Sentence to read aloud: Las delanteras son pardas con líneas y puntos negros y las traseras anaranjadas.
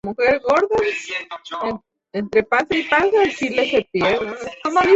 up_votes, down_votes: 0, 2